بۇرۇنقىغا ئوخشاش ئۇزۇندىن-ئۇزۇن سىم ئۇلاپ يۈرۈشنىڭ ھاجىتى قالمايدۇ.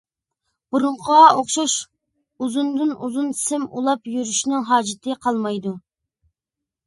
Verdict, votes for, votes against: accepted, 2, 0